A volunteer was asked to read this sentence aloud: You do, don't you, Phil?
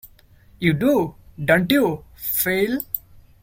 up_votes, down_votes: 2, 0